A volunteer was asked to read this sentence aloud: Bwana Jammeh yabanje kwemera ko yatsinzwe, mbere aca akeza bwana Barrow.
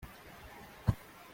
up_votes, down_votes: 0, 2